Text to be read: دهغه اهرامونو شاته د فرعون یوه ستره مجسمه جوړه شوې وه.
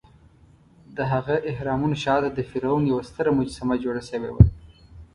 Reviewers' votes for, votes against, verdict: 2, 0, accepted